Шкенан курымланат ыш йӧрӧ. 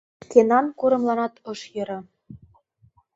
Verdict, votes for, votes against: rejected, 1, 2